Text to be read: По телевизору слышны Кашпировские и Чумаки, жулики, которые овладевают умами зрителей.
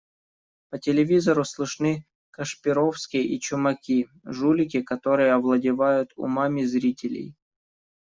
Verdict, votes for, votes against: accepted, 2, 0